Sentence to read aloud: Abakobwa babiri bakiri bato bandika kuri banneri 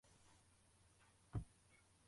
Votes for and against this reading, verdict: 0, 2, rejected